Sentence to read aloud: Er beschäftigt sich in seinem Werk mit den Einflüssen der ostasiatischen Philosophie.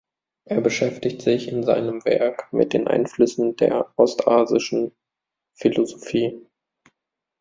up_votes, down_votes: 0, 2